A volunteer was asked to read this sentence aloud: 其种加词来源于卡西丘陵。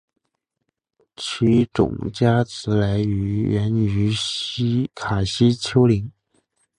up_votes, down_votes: 0, 2